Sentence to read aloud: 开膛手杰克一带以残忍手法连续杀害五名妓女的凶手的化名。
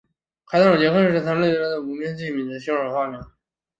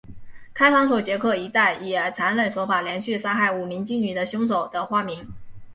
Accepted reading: second